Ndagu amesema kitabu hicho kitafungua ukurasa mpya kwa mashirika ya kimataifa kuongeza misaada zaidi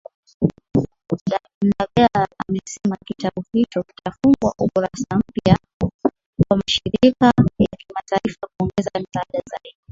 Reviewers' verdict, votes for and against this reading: rejected, 0, 2